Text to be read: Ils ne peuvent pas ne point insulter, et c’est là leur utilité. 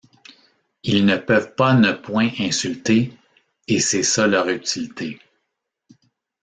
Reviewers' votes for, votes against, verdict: 0, 2, rejected